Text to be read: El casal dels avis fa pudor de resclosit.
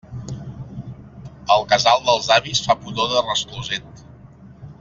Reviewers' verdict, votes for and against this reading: rejected, 0, 2